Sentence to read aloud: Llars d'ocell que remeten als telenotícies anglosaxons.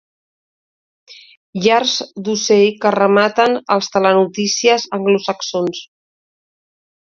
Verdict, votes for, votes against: rejected, 1, 2